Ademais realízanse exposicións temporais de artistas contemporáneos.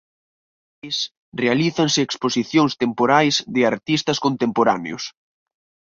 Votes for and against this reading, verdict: 0, 4, rejected